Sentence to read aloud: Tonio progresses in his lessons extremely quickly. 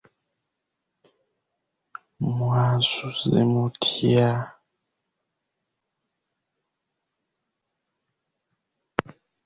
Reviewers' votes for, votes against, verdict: 0, 2, rejected